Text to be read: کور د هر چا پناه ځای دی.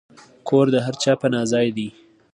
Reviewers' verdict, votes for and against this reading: accepted, 2, 0